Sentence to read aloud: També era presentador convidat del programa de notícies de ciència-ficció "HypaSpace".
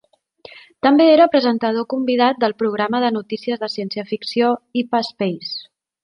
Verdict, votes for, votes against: accepted, 2, 1